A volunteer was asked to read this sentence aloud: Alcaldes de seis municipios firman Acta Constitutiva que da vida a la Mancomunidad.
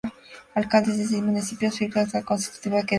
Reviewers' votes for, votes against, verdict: 0, 2, rejected